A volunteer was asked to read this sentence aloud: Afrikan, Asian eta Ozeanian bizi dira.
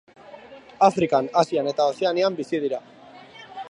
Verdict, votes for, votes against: accepted, 2, 0